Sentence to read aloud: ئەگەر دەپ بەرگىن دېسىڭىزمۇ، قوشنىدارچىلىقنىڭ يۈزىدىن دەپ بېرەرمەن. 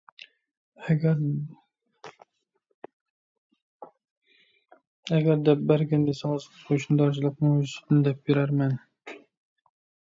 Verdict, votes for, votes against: rejected, 0, 2